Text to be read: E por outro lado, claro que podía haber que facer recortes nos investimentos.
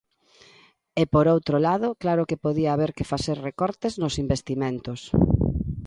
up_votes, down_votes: 2, 0